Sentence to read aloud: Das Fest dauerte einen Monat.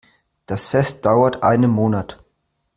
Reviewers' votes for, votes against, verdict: 1, 2, rejected